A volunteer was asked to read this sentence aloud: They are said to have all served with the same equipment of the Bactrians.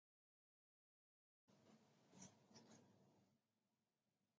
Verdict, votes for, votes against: rejected, 0, 2